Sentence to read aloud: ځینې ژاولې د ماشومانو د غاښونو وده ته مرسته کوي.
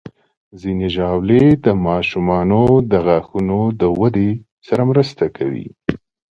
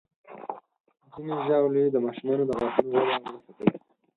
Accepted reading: first